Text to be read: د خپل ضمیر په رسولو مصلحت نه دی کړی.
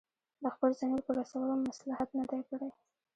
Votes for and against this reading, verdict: 1, 2, rejected